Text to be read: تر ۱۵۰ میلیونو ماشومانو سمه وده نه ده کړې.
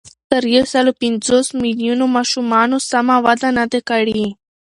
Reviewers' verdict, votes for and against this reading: rejected, 0, 2